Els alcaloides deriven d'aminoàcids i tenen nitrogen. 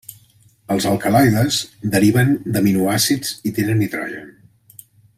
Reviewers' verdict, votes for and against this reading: accepted, 2, 0